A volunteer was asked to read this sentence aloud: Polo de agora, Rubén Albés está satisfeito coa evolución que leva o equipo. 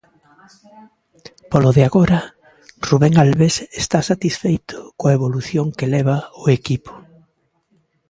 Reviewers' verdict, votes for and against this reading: accepted, 2, 0